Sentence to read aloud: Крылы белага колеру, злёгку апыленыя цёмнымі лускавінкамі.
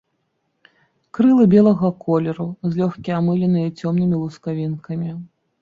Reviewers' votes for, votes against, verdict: 0, 2, rejected